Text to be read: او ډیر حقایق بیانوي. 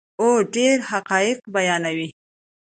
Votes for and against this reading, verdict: 2, 0, accepted